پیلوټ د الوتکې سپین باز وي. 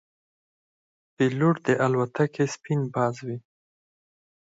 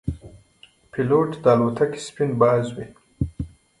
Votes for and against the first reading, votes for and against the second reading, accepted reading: 0, 4, 2, 0, second